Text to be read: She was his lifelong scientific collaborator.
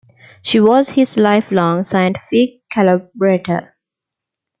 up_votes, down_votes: 1, 2